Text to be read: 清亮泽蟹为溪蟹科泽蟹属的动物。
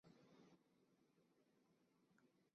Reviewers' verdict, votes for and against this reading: rejected, 0, 2